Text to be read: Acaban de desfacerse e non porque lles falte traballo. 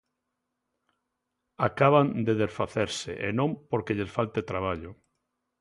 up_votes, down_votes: 2, 0